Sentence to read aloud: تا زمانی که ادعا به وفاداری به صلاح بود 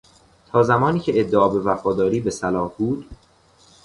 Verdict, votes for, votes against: accepted, 2, 0